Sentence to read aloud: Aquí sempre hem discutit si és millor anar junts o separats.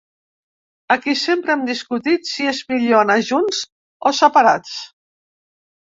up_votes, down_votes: 3, 0